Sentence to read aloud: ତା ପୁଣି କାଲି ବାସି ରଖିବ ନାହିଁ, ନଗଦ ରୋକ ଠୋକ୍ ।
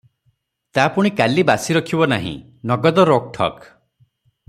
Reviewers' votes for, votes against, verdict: 6, 0, accepted